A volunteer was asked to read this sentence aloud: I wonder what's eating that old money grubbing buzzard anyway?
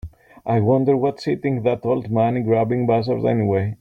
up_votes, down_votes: 2, 0